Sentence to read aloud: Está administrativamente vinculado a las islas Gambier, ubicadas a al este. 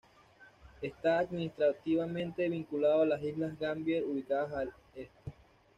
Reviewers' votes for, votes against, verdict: 2, 0, accepted